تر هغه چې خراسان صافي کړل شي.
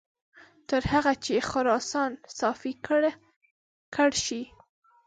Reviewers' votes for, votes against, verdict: 2, 3, rejected